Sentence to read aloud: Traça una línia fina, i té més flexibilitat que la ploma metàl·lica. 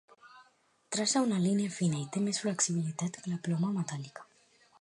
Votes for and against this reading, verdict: 2, 0, accepted